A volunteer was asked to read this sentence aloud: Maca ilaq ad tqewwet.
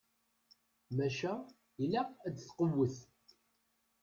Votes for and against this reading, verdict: 2, 0, accepted